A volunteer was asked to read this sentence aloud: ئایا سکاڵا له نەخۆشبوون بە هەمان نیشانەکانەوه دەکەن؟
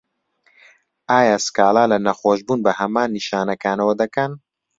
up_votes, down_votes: 2, 0